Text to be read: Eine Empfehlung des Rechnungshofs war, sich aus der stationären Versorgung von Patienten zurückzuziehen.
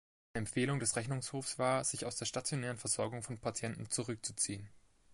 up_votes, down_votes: 0, 2